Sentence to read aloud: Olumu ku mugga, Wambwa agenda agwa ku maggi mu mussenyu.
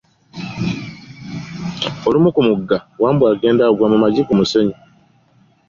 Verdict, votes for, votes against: accepted, 2, 0